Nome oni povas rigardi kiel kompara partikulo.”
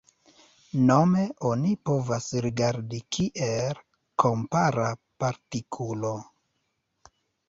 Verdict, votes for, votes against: rejected, 1, 2